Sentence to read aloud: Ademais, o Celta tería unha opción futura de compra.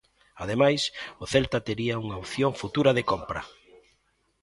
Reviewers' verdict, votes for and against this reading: accepted, 2, 0